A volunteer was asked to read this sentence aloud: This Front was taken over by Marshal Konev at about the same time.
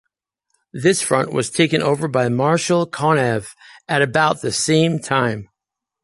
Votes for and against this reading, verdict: 2, 0, accepted